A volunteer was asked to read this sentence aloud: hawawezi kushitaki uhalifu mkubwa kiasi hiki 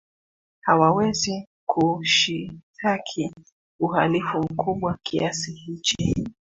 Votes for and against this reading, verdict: 0, 2, rejected